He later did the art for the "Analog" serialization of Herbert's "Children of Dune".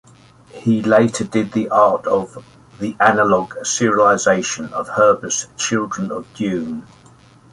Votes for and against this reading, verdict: 1, 3, rejected